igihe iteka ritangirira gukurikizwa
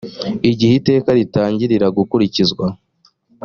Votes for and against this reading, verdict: 2, 0, accepted